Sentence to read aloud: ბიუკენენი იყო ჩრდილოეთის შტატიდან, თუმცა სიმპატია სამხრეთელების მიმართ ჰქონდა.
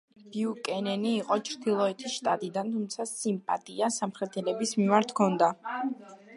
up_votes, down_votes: 2, 0